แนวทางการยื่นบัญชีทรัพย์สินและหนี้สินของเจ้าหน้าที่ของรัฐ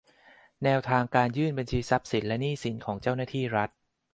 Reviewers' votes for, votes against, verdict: 1, 2, rejected